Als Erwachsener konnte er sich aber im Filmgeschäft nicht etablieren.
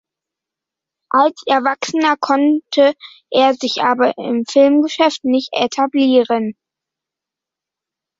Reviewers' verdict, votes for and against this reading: accepted, 2, 0